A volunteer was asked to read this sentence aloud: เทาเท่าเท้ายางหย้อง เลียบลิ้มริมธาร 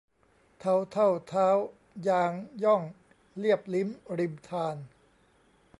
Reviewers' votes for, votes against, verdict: 2, 1, accepted